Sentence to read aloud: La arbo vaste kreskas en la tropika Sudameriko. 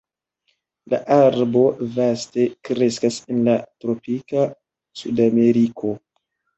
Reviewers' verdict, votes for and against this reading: accepted, 2, 0